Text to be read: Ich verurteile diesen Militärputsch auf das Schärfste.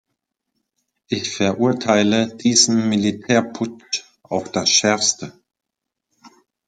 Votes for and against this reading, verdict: 2, 1, accepted